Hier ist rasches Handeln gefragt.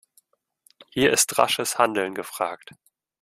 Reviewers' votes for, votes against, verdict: 2, 0, accepted